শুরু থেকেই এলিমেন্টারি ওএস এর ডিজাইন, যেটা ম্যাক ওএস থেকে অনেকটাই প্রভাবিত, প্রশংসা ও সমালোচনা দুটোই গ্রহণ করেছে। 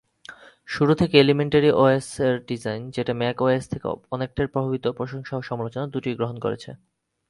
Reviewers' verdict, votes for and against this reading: rejected, 0, 5